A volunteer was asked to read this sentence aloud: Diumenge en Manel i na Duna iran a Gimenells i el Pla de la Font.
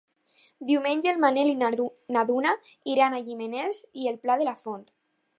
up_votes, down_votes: 0, 4